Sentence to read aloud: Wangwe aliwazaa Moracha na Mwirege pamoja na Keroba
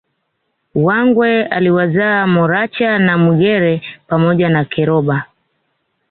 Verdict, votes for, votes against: accepted, 2, 0